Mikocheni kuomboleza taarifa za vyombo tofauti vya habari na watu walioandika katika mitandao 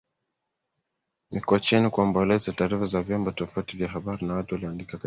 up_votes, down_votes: 0, 2